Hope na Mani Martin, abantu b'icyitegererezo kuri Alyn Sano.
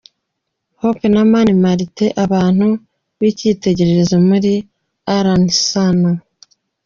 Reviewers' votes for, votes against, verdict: 2, 3, rejected